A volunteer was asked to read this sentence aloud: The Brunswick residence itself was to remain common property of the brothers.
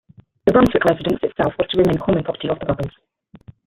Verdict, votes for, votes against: rejected, 0, 2